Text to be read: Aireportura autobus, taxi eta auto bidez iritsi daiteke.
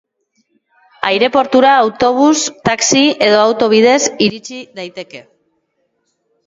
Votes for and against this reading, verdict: 2, 2, rejected